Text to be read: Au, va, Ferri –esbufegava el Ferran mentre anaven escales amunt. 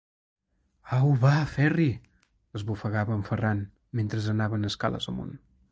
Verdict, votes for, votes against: rejected, 2, 3